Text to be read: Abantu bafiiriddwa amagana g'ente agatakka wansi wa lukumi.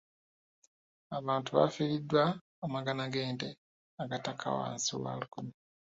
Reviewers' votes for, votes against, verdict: 1, 2, rejected